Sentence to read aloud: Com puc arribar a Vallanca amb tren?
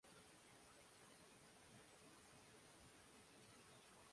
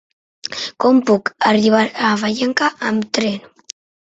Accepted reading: second